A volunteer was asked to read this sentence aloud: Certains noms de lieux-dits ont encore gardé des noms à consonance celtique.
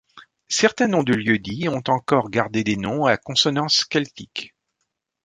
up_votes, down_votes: 1, 2